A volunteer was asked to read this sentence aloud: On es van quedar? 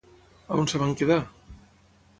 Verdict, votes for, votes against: rejected, 0, 6